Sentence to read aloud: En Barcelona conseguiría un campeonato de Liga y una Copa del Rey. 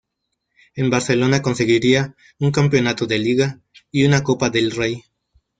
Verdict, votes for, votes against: accepted, 2, 0